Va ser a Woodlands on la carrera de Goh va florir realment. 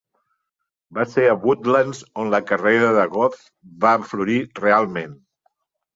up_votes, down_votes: 2, 0